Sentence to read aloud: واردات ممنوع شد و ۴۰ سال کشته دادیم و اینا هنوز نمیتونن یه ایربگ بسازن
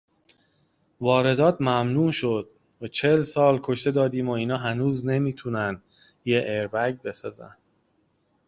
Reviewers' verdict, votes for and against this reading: rejected, 0, 2